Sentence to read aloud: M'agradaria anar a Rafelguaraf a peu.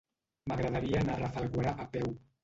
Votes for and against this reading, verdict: 1, 2, rejected